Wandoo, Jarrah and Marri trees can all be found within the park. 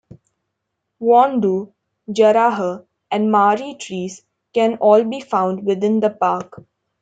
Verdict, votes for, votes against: rejected, 1, 2